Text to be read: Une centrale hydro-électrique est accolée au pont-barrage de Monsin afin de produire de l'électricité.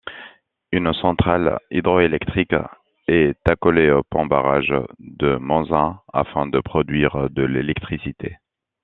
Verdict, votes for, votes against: accepted, 2, 0